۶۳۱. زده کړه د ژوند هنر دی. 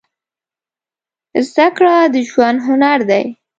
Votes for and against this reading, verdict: 0, 2, rejected